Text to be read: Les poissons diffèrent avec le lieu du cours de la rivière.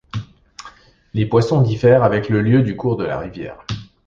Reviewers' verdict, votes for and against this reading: accepted, 2, 0